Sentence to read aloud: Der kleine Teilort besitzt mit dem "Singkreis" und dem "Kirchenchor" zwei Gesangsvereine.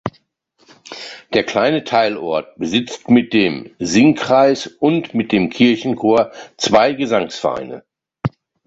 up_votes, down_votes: 0, 3